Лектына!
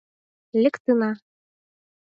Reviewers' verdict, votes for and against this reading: accepted, 4, 0